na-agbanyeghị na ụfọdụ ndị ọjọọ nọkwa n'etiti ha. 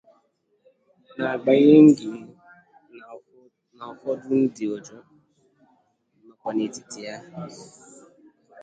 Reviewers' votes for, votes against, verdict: 0, 2, rejected